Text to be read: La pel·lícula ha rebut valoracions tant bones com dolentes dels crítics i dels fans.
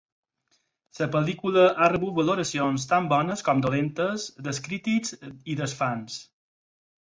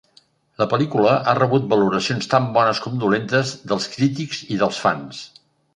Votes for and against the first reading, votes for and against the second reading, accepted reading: 2, 4, 2, 0, second